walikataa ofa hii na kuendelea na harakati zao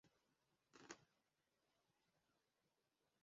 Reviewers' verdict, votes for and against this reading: rejected, 0, 2